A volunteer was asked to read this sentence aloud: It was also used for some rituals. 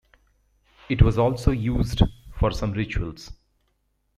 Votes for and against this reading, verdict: 2, 1, accepted